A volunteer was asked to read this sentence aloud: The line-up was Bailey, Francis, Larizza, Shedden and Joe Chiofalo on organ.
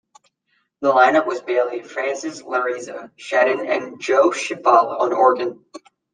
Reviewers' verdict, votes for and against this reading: accepted, 2, 0